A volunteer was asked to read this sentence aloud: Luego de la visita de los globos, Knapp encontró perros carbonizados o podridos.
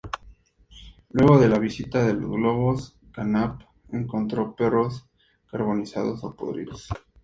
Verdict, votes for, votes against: accepted, 4, 0